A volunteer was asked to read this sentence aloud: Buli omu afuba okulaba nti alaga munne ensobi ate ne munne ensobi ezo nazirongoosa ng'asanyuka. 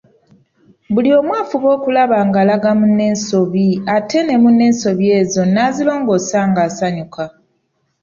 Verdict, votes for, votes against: rejected, 1, 2